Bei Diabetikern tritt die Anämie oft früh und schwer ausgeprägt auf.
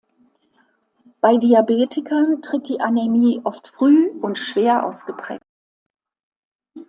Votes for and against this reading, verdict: 0, 2, rejected